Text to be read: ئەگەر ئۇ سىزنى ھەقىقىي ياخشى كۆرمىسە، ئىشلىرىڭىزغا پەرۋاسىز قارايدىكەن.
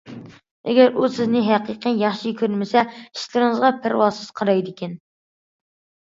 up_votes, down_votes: 2, 0